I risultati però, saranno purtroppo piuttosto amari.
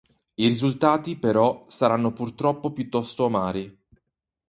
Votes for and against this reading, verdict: 2, 2, rejected